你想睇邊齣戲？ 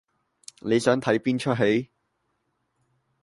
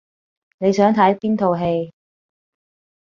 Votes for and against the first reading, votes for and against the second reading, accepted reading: 2, 0, 0, 2, first